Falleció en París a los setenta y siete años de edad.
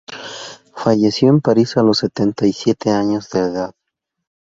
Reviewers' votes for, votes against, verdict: 2, 0, accepted